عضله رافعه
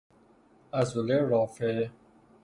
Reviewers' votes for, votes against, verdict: 3, 0, accepted